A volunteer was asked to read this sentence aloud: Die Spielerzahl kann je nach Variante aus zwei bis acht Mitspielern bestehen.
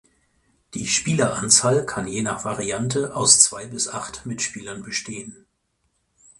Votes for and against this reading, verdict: 0, 4, rejected